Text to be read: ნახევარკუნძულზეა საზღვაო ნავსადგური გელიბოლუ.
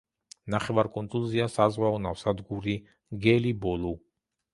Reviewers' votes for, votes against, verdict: 2, 0, accepted